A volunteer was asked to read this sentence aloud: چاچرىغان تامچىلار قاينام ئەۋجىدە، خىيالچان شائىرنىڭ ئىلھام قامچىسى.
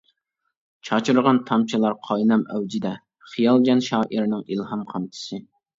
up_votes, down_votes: 1, 2